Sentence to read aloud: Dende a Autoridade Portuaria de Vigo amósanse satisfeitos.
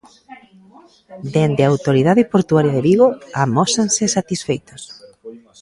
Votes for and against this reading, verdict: 2, 0, accepted